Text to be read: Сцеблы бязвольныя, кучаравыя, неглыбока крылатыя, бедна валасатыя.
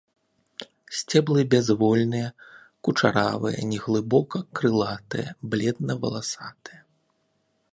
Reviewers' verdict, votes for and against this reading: rejected, 1, 2